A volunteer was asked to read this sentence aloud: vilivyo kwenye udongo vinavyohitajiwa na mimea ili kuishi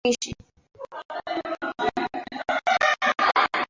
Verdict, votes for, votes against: rejected, 0, 2